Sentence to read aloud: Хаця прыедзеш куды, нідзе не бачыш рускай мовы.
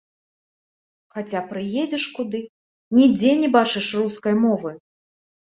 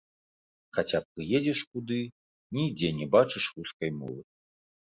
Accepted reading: second